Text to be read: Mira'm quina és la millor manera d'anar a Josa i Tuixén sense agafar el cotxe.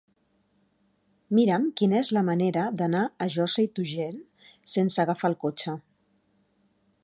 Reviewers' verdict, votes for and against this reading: rejected, 1, 2